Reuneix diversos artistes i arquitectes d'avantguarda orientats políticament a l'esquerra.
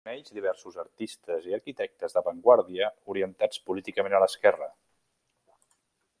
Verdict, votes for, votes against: rejected, 0, 2